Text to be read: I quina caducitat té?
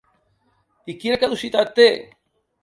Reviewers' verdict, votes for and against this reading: accepted, 3, 0